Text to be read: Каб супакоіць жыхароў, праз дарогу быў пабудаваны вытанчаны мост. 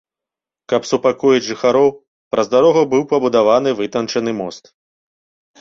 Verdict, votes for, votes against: accepted, 2, 0